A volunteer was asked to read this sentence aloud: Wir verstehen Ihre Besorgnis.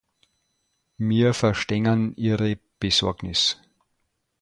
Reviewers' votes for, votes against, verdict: 0, 2, rejected